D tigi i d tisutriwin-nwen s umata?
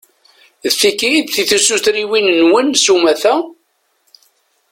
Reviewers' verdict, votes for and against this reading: rejected, 1, 2